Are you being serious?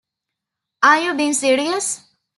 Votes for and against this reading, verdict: 2, 0, accepted